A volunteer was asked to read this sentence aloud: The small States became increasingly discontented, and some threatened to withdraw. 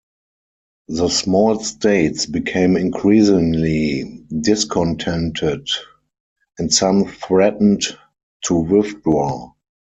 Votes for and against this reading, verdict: 4, 2, accepted